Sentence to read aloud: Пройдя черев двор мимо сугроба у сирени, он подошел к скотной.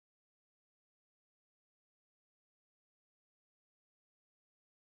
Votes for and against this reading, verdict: 0, 14, rejected